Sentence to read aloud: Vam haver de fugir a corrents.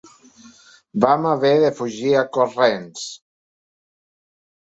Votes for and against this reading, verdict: 3, 0, accepted